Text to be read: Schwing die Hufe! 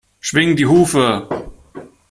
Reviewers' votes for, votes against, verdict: 2, 0, accepted